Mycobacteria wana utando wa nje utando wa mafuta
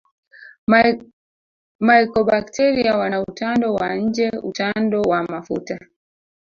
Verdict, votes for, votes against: rejected, 1, 2